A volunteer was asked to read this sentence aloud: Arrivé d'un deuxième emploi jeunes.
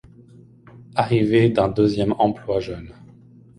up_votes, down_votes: 2, 0